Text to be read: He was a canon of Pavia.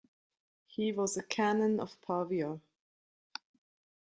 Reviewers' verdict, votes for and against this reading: rejected, 1, 2